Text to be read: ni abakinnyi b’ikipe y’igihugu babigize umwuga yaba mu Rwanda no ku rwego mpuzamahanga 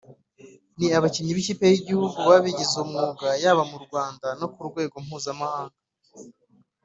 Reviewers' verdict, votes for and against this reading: rejected, 1, 2